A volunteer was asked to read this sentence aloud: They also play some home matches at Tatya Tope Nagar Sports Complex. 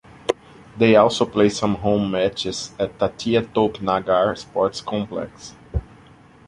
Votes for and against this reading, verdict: 2, 1, accepted